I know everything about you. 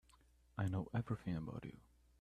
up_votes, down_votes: 2, 0